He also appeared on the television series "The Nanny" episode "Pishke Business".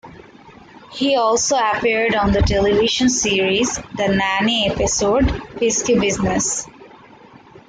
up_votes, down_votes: 0, 2